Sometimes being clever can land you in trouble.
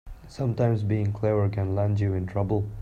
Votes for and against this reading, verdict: 2, 0, accepted